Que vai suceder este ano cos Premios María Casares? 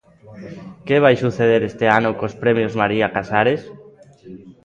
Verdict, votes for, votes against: rejected, 1, 2